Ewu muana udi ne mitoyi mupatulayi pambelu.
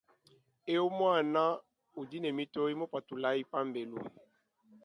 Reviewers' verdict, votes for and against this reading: accepted, 2, 0